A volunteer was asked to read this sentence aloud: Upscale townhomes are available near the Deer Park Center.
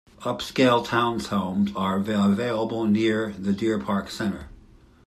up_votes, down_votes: 0, 2